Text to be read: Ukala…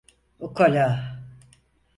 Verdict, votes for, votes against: accepted, 4, 0